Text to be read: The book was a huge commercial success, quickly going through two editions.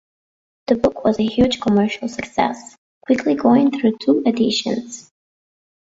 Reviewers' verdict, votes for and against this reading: accepted, 2, 0